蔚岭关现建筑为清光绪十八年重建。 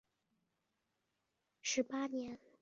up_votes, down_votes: 1, 4